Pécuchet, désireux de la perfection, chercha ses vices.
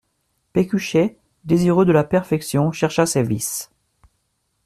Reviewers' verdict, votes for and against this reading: accepted, 2, 0